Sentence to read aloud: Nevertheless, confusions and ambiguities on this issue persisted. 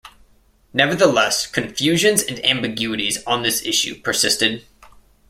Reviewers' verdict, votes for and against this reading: accepted, 2, 0